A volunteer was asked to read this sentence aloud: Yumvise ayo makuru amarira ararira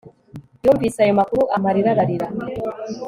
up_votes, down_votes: 3, 0